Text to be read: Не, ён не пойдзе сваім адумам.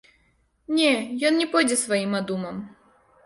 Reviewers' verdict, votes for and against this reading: rejected, 1, 2